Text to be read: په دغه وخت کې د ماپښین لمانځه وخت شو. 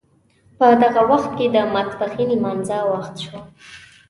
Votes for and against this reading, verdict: 2, 0, accepted